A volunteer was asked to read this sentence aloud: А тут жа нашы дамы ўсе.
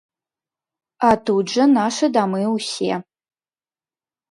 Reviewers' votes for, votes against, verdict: 2, 0, accepted